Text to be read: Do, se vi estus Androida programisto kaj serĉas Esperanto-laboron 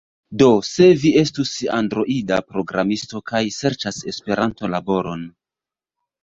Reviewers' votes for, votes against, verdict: 1, 2, rejected